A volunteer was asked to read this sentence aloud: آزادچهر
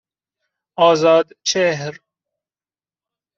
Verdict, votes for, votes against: accepted, 2, 0